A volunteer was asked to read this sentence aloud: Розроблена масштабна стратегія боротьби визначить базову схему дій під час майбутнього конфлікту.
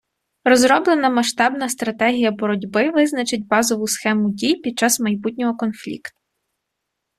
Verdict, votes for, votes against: rejected, 1, 2